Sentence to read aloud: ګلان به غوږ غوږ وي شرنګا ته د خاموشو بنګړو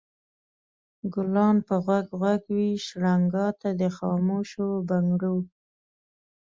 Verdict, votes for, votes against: accepted, 2, 0